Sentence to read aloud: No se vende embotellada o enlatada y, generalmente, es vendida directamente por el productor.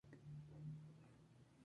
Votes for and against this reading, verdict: 0, 2, rejected